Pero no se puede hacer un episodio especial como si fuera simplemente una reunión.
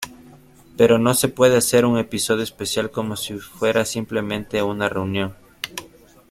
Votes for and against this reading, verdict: 2, 1, accepted